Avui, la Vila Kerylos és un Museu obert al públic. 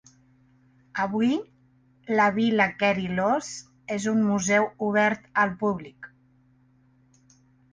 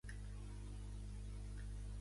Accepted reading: first